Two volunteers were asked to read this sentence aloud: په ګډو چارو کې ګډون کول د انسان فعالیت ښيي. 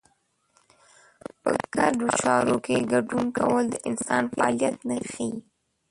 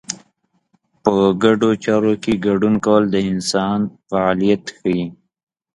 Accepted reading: second